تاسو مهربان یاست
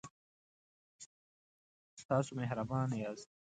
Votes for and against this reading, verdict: 2, 0, accepted